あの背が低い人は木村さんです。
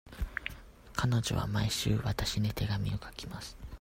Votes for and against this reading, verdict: 0, 2, rejected